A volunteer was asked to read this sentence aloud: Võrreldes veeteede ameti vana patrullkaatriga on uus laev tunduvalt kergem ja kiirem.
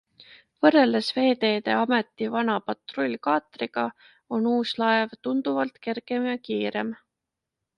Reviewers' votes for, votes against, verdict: 2, 0, accepted